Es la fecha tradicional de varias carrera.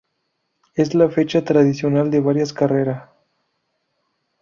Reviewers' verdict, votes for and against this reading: accepted, 2, 0